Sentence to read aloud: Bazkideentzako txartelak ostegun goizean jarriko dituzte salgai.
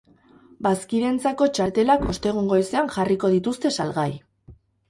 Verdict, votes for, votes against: rejected, 0, 2